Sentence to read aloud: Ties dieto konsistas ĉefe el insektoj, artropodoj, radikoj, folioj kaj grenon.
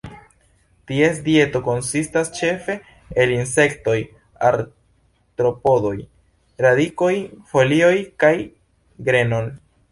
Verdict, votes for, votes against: rejected, 1, 2